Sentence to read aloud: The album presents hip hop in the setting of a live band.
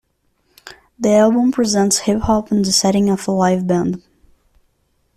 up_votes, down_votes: 2, 0